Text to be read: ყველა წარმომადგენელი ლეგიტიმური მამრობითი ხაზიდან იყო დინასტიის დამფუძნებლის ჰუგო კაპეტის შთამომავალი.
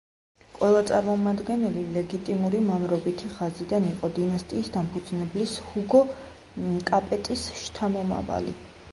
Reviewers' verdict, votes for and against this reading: rejected, 1, 2